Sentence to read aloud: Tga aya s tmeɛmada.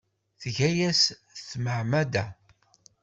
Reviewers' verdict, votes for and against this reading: rejected, 0, 2